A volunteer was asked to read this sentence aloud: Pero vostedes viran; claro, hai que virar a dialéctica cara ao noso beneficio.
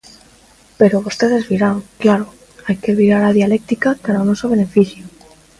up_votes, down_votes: 1, 2